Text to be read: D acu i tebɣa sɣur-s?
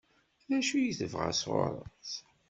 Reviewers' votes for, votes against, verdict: 2, 0, accepted